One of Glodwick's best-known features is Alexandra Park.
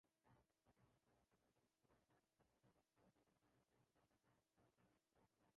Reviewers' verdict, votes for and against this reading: rejected, 0, 2